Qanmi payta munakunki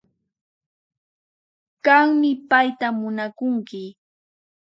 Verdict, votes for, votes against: rejected, 2, 4